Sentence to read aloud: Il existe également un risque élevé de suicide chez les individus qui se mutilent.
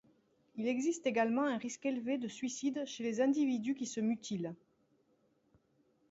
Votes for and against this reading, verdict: 2, 0, accepted